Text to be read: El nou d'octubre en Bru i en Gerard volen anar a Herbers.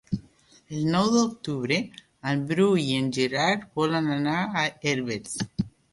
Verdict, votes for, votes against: accepted, 3, 0